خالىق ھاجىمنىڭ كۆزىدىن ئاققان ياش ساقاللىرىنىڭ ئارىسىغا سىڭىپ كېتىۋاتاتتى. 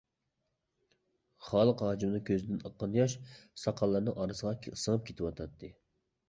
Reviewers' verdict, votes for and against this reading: rejected, 0, 2